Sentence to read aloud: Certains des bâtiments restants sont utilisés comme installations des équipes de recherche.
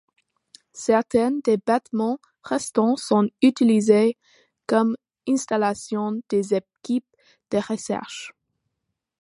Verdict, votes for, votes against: accepted, 2, 1